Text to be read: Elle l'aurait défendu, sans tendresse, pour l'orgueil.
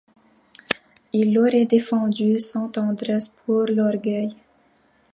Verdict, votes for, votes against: accepted, 2, 0